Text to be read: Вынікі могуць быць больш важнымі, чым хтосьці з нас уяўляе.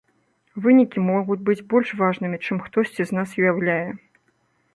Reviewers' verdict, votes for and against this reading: accepted, 2, 0